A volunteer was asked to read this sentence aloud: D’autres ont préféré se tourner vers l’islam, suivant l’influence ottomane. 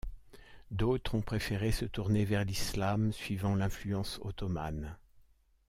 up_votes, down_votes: 2, 0